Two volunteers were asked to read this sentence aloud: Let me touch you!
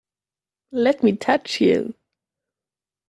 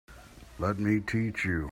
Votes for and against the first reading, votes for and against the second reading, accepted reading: 3, 0, 0, 2, first